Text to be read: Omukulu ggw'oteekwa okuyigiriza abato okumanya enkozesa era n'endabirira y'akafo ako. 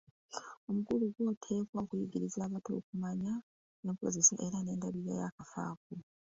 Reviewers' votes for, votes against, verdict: 1, 2, rejected